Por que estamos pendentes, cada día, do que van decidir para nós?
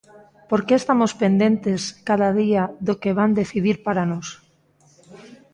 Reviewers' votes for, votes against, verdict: 2, 0, accepted